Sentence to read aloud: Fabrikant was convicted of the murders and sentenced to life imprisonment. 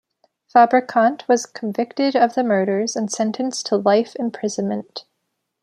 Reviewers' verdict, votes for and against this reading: accepted, 2, 0